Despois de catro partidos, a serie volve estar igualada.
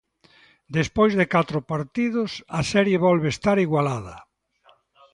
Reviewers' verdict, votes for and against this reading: accepted, 2, 0